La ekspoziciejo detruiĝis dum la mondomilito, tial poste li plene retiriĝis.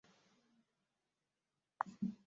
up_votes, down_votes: 1, 3